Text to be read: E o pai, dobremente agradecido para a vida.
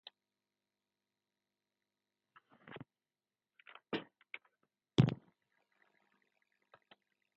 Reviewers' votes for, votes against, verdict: 0, 2, rejected